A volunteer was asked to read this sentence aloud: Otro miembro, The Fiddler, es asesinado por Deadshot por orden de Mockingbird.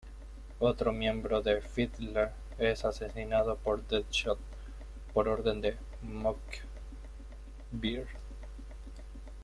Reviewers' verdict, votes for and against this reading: rejected, 1, 2